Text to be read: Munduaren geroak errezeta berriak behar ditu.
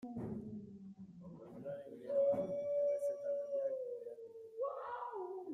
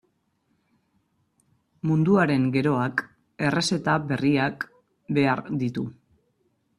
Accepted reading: second